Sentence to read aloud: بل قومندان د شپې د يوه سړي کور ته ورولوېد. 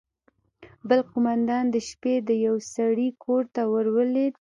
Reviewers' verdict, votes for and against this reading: accepted, 2, 0